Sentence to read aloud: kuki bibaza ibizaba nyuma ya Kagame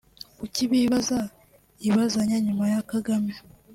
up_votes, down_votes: 0, 2